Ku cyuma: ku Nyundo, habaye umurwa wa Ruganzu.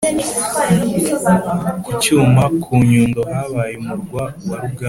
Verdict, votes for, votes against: accepted, 3, 1